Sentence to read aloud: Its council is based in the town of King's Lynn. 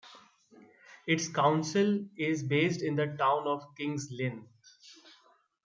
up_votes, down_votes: 2, 0